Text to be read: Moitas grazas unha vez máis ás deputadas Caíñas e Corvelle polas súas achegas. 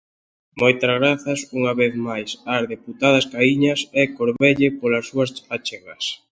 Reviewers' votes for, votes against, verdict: 2, 0, accepted